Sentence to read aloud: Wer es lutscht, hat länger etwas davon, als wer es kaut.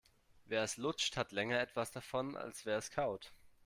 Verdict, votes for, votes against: accepted, 2, 0